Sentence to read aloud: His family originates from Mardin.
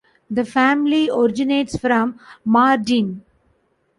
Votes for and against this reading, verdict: 1, 2, rejected